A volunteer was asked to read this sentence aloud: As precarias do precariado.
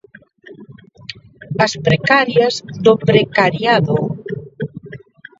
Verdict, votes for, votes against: rejected, 0, 2